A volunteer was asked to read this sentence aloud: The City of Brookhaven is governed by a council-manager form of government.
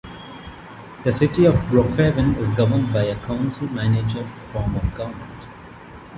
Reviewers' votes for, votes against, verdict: 2, 1, accepted